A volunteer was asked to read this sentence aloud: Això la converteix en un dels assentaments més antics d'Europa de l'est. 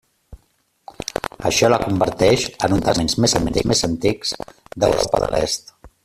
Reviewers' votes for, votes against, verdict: 0, 2, rejected